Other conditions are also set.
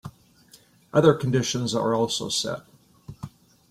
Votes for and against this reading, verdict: 3, 0, accepted